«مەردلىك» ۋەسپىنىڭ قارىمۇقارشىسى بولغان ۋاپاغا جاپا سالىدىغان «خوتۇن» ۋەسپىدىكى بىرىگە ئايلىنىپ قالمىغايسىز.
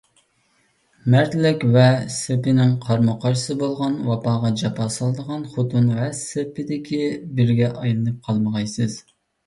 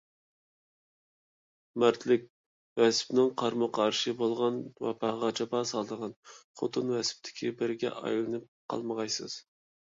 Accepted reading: second